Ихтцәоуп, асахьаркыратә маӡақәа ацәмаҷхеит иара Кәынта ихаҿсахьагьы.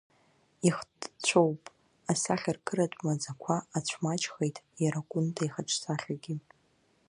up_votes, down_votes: 1, 2